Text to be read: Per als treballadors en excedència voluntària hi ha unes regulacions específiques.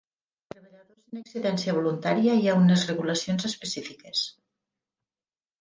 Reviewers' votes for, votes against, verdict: 1, 4, rejected